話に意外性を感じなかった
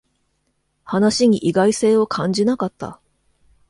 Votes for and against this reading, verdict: 2, 0, accepted